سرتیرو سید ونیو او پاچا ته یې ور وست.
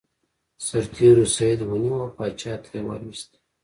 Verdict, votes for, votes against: accepted, 2, 0